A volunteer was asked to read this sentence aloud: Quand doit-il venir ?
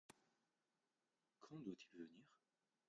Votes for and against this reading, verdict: 1, 2, rejected